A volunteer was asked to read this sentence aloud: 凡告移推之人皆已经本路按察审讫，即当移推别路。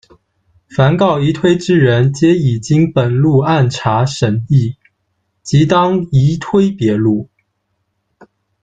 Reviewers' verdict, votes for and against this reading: accepted, 2, 0